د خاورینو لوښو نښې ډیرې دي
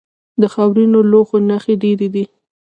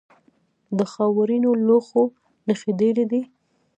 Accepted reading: first